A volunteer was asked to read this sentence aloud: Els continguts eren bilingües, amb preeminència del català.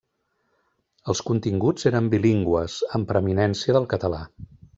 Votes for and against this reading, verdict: 2, 0, accepted